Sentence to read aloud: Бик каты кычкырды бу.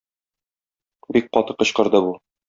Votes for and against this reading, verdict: 2, 0, accepted